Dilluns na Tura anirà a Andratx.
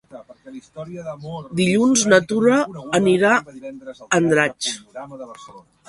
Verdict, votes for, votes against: rejected, 0, 2